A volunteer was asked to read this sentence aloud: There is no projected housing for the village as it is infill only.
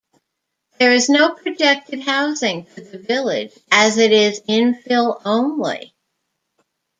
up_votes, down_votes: 2, 0